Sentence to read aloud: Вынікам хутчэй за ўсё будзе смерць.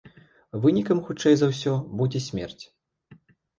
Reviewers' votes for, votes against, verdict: 2, 0, accepted